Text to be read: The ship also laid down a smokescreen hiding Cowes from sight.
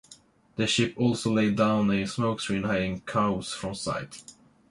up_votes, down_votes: 2, 0